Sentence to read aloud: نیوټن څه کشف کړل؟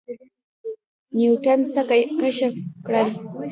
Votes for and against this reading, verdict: 2, 0, accepted